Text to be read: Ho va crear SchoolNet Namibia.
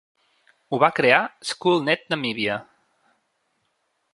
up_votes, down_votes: 3, 0